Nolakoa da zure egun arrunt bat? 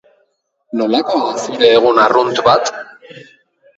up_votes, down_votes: 1, 2